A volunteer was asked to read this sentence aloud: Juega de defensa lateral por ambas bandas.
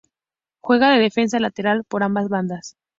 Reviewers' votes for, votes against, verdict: 2, 0, accepted